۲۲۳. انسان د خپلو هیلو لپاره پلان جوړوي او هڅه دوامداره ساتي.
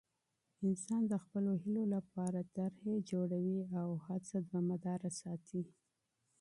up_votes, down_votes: 0, 2